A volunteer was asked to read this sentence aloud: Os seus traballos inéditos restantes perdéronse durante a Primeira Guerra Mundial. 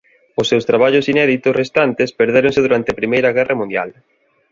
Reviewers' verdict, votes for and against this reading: accepted, 2, 0